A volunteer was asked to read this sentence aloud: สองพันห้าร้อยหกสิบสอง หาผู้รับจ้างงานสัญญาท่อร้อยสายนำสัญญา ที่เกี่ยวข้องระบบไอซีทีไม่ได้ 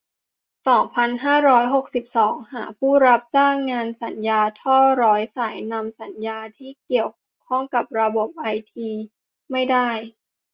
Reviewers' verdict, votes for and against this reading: rejected, 0, 2